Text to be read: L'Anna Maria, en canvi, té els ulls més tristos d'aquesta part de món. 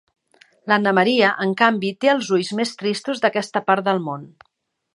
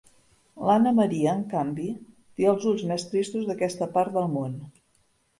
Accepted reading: first